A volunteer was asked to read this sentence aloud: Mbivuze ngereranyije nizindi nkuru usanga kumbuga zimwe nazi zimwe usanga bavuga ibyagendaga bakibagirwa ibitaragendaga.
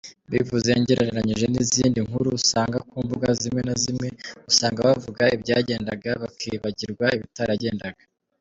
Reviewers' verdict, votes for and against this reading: accepted, 3, 0